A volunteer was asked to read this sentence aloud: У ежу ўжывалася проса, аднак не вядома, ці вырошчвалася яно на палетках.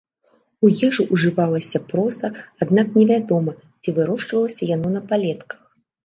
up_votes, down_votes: 2, 0